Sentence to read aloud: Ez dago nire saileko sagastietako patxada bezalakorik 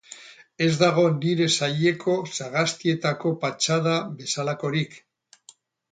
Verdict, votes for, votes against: rejected, 2, 2